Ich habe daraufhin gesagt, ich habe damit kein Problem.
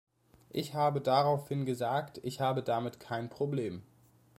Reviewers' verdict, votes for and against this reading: accepted, 2, 0